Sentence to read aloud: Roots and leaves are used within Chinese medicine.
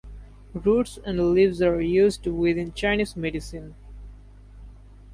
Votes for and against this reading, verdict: 2, 0, accepted